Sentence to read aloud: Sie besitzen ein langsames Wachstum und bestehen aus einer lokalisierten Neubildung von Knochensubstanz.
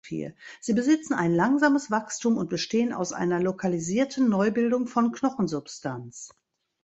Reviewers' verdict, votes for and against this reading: rejected, 1, 2